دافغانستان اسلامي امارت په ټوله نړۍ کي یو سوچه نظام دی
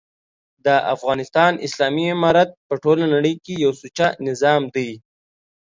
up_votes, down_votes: 2, 0